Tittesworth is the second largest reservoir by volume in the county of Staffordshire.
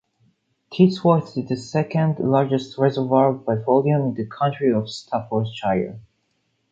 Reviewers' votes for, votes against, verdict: 2, 1, accepted